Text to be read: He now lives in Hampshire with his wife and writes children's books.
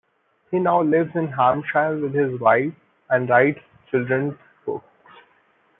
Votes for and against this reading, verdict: 1, 2, rejected